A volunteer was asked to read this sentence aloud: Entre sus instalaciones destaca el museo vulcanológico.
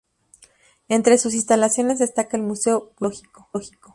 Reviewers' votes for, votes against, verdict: 0, 2, rejected